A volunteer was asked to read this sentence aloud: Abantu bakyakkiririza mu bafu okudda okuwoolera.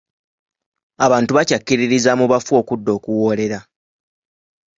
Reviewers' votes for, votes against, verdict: 2, 0, accepted